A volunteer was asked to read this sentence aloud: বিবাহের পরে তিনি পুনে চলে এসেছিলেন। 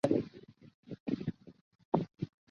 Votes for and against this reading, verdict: 0, 2, rejected